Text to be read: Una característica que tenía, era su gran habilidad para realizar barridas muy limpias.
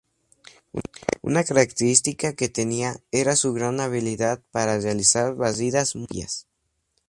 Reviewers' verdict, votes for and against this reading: rejected, 2, 2